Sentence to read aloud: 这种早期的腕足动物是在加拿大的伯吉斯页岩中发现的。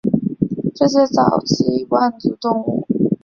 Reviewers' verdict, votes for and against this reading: rejected, 0, 3